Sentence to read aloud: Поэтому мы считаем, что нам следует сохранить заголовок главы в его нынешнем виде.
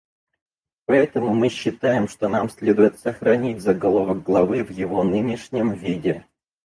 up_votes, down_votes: 0, 4